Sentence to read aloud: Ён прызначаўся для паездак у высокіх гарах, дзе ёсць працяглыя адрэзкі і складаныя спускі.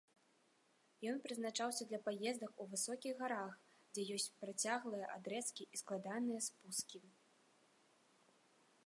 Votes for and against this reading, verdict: 2, 0, accepted